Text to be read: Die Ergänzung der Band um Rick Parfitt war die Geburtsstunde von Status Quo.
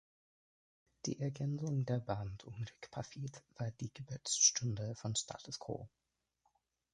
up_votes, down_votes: 2, 1